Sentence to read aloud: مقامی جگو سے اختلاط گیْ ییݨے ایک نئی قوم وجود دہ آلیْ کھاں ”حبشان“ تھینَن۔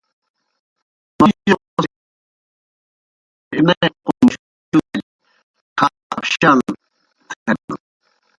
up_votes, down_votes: 0, 2